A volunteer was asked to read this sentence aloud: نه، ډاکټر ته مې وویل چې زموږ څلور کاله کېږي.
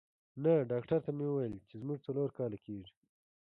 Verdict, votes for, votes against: accepted, 2, 0